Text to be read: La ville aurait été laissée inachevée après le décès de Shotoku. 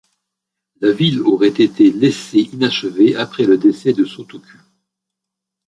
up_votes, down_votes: 1, 2